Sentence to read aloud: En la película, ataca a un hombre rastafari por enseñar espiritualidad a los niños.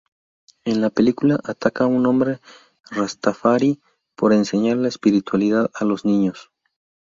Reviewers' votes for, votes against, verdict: 0, 2, rejected